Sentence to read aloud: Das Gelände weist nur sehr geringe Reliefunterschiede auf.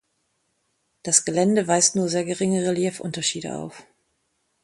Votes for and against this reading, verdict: 2, 0, accepted